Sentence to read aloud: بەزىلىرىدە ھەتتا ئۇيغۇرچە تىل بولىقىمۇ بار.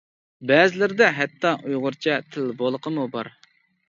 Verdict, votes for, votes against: accepted, 2, 0